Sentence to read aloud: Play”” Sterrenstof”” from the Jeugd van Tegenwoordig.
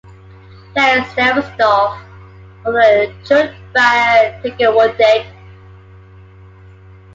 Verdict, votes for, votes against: accepted, 2, 1